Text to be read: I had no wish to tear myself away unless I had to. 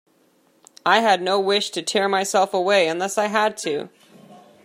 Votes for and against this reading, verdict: 2, 0, accepted